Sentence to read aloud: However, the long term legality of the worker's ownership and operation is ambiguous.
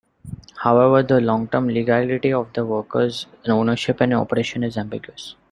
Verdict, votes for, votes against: accepted, 2, 1